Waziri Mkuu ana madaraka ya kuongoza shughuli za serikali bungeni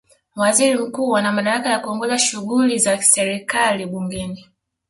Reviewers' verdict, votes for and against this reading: rejected, 0, 2